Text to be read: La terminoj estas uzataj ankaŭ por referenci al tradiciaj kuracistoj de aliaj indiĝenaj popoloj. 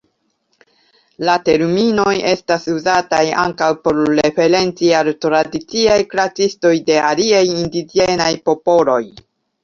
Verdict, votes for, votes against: accepted, 2, 0